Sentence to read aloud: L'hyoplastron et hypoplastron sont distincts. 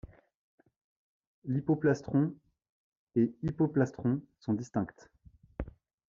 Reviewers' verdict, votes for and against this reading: rejected, 0, 2